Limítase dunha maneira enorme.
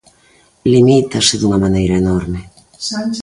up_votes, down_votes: 0, 2